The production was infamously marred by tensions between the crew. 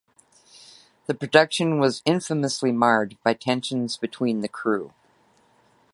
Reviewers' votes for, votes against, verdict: 2, 0, accepted